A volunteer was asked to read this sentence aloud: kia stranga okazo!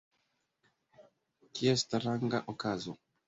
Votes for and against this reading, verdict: 2, 1, accepted